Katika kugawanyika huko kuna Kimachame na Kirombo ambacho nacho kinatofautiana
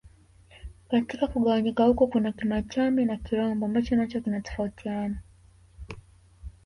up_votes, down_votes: 1, 2